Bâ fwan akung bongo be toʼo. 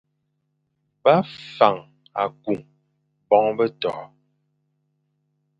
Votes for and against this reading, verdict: 1, 2, rejected